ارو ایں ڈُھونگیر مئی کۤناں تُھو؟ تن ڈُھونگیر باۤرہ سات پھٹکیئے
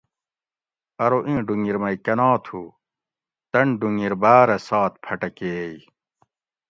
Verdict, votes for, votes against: accepted, 2, 0